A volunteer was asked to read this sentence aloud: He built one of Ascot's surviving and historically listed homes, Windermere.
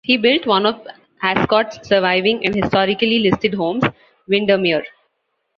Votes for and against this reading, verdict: 2, 0, accepted